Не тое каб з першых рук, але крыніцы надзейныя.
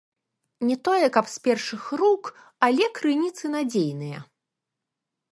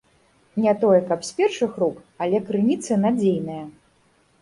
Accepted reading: second